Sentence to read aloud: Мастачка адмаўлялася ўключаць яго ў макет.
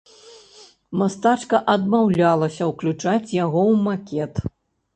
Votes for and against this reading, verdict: 1, 2, rejected